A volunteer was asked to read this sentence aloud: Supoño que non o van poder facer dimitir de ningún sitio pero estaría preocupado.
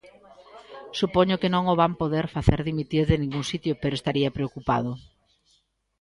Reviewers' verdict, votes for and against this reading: accepted, 2, 1